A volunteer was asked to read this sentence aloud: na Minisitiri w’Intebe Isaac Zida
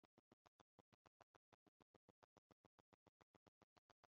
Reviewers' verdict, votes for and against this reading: rejected, 0, 3